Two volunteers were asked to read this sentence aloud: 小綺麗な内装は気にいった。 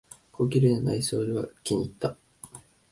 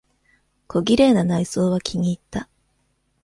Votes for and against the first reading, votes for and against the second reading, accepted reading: 1, 2, 2, 0, second